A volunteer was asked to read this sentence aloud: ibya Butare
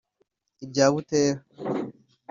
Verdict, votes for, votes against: rejected, 1, 2